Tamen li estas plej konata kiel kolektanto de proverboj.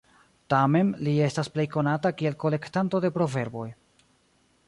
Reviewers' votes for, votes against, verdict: 1, 2, rejected